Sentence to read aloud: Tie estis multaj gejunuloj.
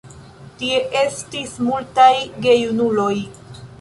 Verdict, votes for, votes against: rejected, 0, 2